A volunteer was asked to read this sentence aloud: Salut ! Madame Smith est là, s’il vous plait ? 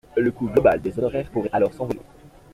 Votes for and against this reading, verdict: 0, 2, rejected